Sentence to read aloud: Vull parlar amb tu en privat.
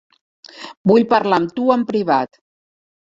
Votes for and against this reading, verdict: 3, 0, accepted